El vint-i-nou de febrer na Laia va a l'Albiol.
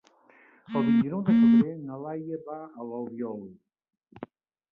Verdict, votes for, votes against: rejected, 1, 2